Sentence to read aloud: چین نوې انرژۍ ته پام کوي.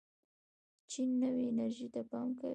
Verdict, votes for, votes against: rejected, 1, 2